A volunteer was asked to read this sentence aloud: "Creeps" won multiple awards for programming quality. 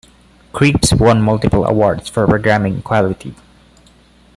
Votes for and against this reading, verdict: 2, 0, accepted